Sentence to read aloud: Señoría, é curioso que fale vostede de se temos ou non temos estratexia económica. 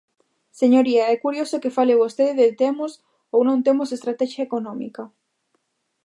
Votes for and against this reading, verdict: 0, 2, rejected